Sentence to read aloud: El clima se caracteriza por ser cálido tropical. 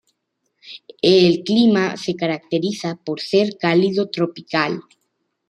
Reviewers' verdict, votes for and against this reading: accepted, 2, 0